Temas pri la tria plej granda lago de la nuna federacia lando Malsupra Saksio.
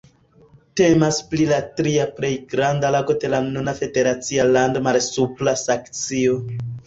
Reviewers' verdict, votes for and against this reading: accepted, 2, 1